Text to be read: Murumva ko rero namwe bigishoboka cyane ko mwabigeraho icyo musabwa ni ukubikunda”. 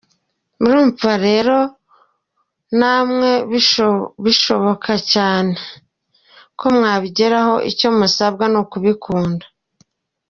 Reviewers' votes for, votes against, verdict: 0, 2, rejected